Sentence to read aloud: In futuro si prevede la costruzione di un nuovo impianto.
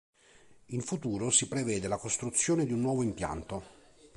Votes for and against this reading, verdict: 3, 0, accepted